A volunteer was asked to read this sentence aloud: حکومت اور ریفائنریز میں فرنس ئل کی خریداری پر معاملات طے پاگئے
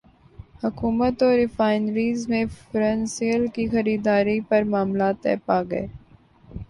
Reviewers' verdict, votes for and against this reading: rejected, 0, 2